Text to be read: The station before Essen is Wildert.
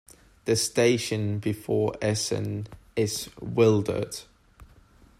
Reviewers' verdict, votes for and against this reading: accepted, 2, 0